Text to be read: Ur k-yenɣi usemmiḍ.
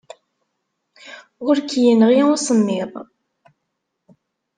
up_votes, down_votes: 4, 0